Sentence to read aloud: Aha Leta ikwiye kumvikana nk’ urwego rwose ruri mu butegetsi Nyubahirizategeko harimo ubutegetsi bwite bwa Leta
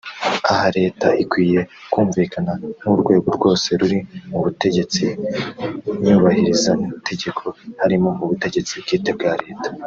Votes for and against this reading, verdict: 3, 0, accepted